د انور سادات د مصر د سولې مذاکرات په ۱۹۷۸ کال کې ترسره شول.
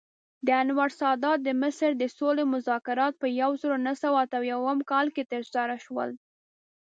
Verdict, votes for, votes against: rejected, 0, 2